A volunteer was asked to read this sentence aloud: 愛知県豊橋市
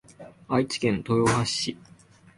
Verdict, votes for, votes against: accepted, 2, 0